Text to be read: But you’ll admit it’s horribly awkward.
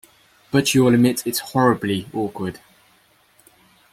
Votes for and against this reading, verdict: 2, 0, accepted